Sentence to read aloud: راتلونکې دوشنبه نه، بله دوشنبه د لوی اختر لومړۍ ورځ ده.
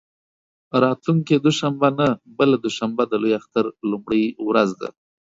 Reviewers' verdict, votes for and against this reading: accepted, 2, 0